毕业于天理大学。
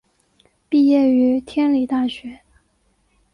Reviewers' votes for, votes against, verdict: 3, 0, accepted